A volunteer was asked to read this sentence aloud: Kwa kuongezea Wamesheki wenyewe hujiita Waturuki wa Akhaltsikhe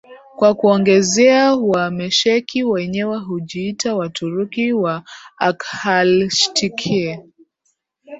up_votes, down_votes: 0, 2